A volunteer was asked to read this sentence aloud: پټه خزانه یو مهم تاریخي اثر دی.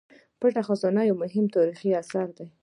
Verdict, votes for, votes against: accepted, 2, 1